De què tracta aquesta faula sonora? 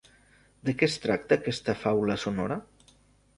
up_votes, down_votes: 1, 2